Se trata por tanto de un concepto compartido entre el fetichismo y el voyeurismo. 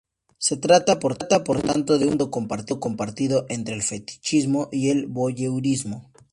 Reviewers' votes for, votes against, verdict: 2, 0, accepted